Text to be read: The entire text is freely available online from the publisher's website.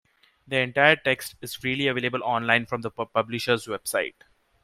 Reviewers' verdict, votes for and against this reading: rejected, 1, 2